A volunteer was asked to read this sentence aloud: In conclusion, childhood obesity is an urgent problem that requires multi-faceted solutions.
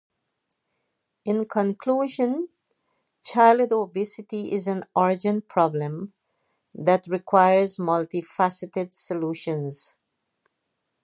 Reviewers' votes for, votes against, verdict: 2, 0, accepted